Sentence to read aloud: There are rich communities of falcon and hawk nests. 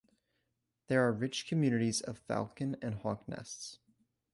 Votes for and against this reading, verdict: 2, 0, accepted